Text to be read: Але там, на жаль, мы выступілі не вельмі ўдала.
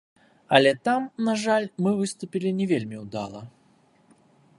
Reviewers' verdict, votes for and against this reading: accepted, 2, 0